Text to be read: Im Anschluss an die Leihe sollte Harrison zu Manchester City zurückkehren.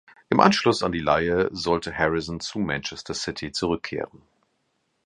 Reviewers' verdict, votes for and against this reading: accepted, 2, 0